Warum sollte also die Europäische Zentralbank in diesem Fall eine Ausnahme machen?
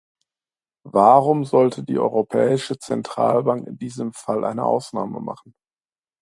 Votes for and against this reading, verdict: 0, 2, rejected